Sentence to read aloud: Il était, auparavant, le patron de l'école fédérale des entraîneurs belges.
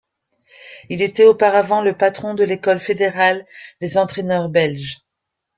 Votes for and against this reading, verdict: 2, 1, accepted